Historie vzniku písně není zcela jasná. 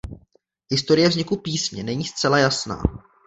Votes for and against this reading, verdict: 2, 0, accepted